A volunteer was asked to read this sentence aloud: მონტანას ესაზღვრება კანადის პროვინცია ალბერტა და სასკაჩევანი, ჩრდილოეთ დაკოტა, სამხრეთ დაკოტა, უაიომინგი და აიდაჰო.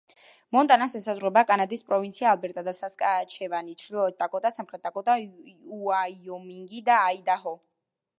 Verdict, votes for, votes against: rejected, 1, 2